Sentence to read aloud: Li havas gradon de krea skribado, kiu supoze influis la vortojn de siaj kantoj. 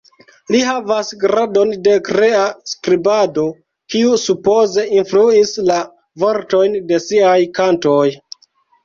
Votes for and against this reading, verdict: 0, 2, rejected